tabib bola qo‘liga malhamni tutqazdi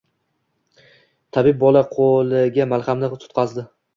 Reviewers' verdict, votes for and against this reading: rejected, 0, 2